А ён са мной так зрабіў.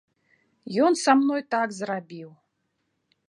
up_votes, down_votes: 1, 2